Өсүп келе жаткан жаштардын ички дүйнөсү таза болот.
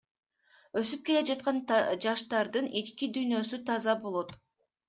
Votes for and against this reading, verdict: 1, 2, rejected